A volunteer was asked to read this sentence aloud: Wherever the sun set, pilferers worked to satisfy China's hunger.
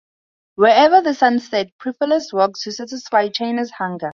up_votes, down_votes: 4, 0